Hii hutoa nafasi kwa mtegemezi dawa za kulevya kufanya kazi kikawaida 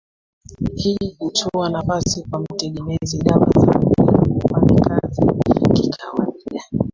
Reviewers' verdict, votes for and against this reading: rejected, 0, 2